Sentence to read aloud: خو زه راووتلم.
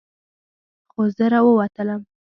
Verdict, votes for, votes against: accepted, 2, 0